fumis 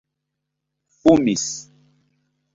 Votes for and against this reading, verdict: 1, 2, rejected